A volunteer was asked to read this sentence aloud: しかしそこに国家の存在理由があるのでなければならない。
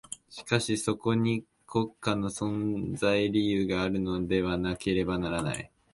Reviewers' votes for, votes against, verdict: 1, 2, rejected